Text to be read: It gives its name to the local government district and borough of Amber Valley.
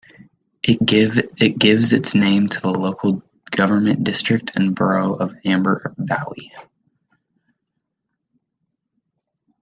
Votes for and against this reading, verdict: 0, 2, rejected